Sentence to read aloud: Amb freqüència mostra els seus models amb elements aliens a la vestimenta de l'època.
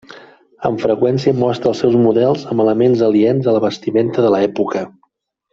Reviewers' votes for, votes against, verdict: 2, 1, accepted